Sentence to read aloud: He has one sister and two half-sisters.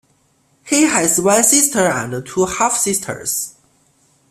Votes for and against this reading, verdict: 2, 1, accepted